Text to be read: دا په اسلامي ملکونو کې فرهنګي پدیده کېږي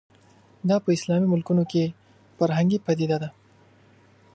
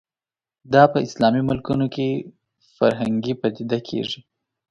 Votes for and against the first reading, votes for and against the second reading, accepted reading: 2, 3, 2, 0, second